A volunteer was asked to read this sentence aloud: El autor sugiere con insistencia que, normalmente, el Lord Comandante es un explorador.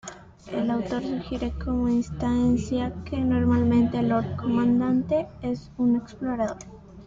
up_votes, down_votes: 1, 2